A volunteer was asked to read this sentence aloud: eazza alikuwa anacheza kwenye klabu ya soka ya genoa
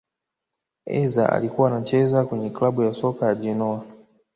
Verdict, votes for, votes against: rejected, 1, 2